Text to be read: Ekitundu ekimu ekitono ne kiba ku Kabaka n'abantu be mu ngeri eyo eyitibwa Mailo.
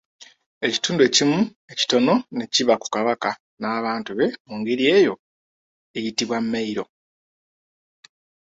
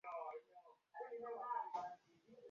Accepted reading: first